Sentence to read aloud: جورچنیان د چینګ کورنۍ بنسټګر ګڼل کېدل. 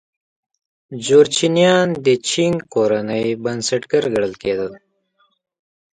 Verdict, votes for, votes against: accepted, 2, 1